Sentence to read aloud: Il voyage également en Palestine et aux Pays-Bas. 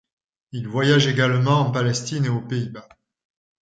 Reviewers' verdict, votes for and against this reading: accepted, 2, 0